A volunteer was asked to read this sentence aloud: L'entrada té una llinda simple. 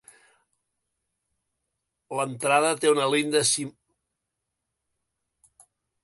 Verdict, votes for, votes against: rejected, 0, 3